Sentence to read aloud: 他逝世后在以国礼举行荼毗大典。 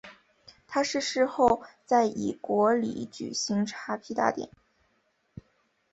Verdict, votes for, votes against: accepted, 4, 2